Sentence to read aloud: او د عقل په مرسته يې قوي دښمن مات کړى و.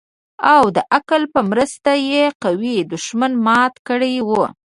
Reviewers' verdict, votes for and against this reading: rejected, 0, 2